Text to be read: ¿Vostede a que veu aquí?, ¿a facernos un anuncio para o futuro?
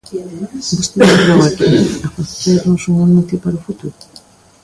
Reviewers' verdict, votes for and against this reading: rejected, 0, 2